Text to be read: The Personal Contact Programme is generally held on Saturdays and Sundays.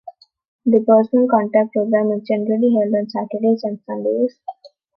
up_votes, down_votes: 2, 0